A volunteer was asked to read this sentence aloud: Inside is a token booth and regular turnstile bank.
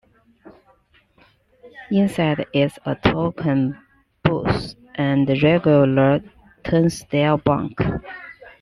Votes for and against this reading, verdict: 0, 3, rejected